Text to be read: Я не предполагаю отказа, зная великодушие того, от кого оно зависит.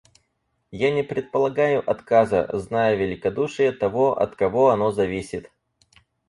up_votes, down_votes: 4, 0